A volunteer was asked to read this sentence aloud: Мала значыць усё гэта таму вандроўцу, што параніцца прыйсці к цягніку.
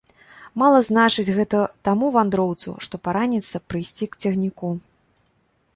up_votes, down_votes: 0, 2